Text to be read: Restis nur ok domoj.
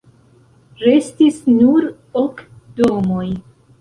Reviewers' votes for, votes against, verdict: 2, 0, accepted